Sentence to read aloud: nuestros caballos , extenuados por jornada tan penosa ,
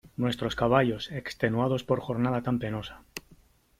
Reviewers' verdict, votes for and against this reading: accepted, 3, 0